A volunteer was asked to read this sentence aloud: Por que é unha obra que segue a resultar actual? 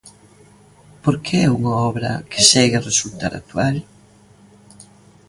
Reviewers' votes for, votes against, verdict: 2, 0, accepted